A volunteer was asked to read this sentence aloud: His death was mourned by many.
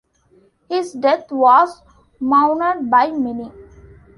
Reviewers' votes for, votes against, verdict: 0, 2, rejected